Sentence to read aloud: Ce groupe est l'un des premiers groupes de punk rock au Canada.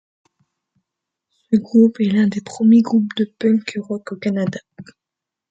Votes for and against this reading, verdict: 2, 1, accepted